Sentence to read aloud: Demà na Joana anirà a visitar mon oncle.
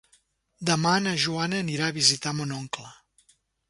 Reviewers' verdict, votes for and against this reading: accepted, 3, 0